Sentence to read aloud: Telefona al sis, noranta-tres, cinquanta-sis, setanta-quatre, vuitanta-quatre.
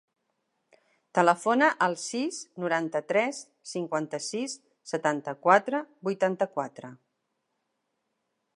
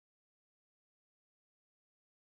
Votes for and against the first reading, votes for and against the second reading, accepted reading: 5, 0, 1, 2, first